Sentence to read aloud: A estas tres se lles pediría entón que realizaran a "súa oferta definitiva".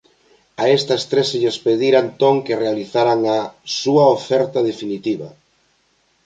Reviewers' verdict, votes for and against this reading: rejected, 1, 2